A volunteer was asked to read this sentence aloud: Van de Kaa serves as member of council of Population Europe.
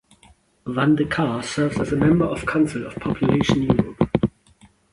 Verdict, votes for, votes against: rejected, 1, 2